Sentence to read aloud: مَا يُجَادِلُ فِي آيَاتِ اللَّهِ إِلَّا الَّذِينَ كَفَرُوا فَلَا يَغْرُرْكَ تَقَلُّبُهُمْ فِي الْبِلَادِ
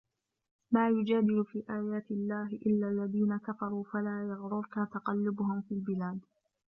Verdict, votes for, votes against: rejected, 1, 2